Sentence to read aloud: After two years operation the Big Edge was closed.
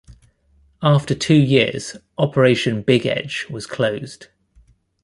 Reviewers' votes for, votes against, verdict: 0, 2, rejected